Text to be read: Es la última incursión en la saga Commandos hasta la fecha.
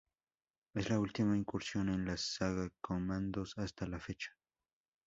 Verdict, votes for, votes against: accepted, 2, 0